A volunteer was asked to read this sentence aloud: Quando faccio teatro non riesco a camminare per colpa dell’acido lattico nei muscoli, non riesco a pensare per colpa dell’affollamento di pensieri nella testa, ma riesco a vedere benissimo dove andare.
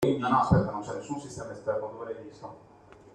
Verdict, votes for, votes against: rejected, 0, 2